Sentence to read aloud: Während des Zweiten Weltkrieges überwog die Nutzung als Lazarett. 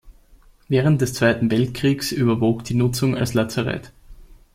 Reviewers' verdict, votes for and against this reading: rejected, 0, 2